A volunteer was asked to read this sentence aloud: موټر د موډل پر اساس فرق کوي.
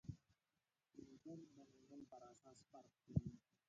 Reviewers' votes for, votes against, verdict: 0, 2, rejected